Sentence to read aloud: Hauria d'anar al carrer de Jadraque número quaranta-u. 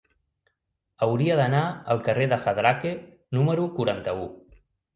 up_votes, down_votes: 1, 2